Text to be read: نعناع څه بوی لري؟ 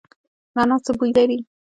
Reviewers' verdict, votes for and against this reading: rejected, 0, 2